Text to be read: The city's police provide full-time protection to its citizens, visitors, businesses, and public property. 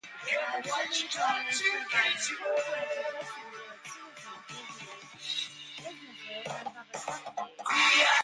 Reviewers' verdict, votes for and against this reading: rejected, 0, 2